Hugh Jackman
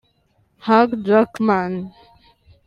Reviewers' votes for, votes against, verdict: 0, 2, rejected